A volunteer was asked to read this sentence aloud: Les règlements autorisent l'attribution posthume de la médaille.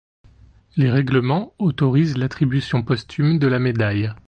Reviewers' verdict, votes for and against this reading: accepted, 2, 0